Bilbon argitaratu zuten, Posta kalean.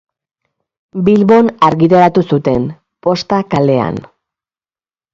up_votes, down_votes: 2, 0